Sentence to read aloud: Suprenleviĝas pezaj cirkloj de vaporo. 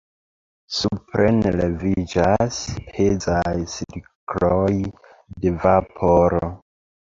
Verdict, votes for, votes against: rejected, 1, 2